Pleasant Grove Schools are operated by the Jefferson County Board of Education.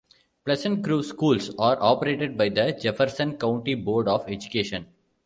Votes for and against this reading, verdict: 2, 0, accepted